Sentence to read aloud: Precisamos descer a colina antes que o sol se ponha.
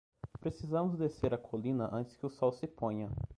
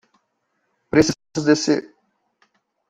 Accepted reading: first